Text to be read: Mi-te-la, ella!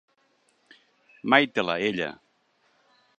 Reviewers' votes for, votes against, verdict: 0, 3, rejected